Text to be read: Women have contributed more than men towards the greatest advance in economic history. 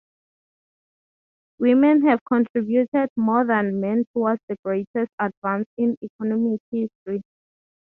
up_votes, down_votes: 6, 0